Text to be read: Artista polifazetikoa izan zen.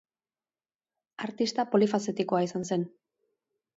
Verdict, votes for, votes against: accepted, 5, 0